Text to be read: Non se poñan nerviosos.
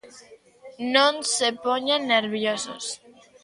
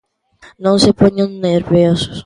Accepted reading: second